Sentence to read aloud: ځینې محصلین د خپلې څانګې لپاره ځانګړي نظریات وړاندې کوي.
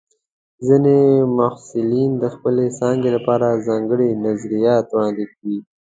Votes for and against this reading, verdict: 2, 0, accepted